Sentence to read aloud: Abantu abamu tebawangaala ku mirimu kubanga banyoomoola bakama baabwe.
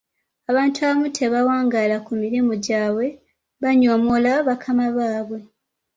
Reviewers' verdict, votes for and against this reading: rejected, 1, 2